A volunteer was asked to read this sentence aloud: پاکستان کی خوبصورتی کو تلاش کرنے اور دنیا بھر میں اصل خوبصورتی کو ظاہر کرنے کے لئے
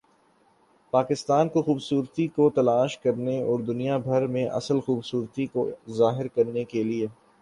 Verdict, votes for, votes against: accepted, 8, 1